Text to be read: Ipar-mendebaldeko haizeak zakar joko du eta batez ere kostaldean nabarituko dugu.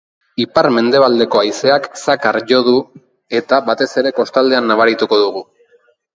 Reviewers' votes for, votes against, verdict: 1, 2, rejected